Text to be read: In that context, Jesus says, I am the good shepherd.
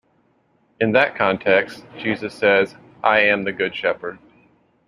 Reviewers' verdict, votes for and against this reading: accepted, 2, 0